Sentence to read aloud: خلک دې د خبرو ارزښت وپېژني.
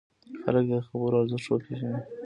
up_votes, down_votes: 1, 2